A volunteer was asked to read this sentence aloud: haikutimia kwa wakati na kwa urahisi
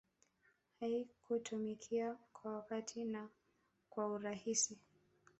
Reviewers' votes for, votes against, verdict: 1, 2, rejected